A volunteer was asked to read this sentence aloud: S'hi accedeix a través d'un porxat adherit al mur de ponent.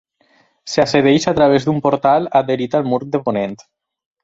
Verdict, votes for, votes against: rejected, 0, 4